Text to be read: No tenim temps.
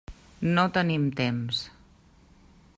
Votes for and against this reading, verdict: 3, 0, accepted